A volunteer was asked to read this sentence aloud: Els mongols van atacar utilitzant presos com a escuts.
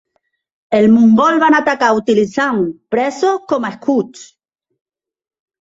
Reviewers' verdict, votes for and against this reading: accepted, 2, 0